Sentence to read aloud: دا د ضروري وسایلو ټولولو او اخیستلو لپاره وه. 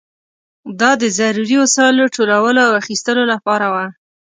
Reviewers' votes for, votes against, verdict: 2, 0, accepted